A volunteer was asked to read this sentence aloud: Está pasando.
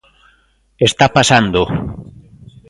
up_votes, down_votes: 2, 0